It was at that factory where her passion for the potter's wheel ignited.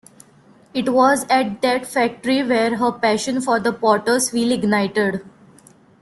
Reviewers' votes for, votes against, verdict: 2, 0, accepted